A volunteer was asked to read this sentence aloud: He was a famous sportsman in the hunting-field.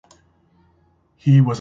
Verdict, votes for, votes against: rejected, 1, 2